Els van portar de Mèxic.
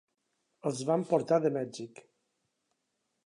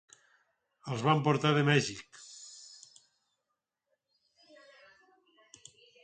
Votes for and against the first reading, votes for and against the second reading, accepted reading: 8, 0, 0, 4, first